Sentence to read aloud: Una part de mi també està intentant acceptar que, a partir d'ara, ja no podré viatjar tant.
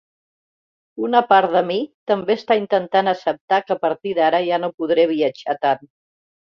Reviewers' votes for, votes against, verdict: 3, 1, accepted